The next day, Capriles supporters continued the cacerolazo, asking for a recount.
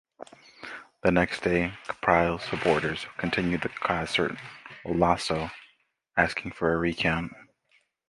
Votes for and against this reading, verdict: 1, 2, rejected